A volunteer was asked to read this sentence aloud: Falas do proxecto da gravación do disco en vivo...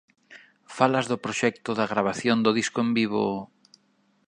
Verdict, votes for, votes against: accepted, 2, 0